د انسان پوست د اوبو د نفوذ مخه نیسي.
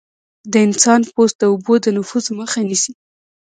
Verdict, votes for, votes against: accepted, 2, 1